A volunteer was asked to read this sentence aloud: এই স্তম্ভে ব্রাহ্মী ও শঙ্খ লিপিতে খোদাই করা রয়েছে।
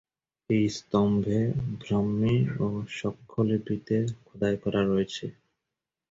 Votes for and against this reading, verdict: 14, 14, rejected